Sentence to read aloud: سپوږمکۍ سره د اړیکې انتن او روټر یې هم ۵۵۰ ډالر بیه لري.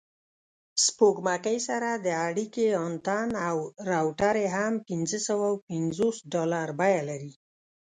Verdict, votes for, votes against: rejected, 0, 2